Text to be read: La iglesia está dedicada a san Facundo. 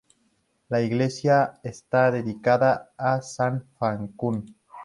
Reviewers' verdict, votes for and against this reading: accepted, 2, 0